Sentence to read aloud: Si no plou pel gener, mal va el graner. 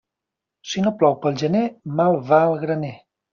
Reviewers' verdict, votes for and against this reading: accepted, 3, 0